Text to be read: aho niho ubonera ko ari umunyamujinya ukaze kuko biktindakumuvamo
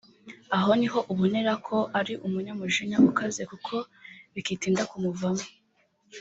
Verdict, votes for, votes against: rejected, 0, 2